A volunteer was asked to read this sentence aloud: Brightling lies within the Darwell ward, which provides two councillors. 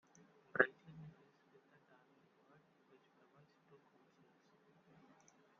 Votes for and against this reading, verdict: 0, 2, rejected